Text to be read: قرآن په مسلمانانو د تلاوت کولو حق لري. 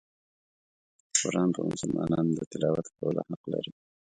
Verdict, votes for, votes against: rejected, 1, 2